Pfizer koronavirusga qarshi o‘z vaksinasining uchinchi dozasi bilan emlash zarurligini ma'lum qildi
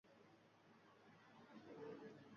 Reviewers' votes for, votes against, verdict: 1, 2, rejected